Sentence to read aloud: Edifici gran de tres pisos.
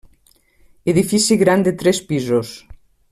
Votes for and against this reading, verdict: 3, 0, accepted